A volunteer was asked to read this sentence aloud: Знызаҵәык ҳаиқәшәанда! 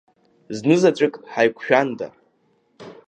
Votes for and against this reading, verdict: 2, 0, accepted